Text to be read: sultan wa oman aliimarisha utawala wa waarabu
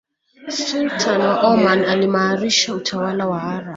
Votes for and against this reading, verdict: 1, 2, rejected